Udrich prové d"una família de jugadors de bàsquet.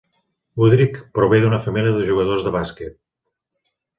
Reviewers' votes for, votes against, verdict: 2, 0, accepted